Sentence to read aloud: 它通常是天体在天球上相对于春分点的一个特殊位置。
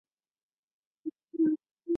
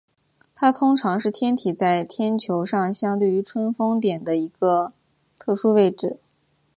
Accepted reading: second